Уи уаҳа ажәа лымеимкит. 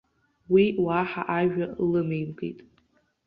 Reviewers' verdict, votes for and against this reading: accepted, 3, 0